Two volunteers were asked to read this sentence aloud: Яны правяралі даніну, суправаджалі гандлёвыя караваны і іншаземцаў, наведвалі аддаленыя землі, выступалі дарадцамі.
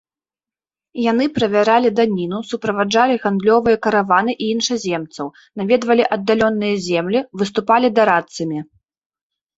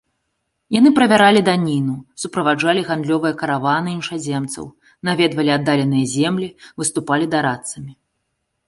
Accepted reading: second